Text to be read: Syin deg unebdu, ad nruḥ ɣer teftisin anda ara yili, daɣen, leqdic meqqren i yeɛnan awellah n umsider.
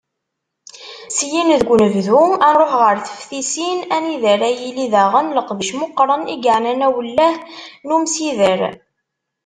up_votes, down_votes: 1, 2